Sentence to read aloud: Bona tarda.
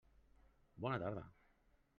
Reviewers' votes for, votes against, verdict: 3, 0, accepted